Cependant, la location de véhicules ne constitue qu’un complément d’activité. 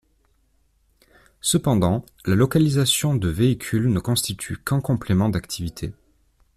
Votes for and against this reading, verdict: 1, 2, rejected